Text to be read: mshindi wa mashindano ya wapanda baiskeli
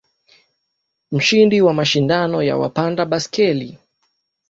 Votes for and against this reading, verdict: 2, 0, accepted